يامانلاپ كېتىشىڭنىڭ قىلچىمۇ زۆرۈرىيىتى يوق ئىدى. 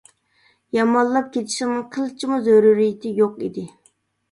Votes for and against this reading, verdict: 0, 2, rejected